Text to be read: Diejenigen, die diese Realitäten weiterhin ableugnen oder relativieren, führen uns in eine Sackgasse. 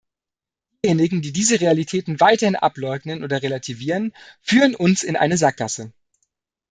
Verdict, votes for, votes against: rejected, 1, 2